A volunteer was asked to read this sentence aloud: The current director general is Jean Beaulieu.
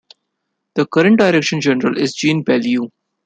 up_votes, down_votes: 1, 3